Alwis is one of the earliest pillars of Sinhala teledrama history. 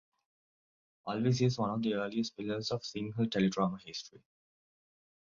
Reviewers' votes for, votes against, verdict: 2, 1, accepted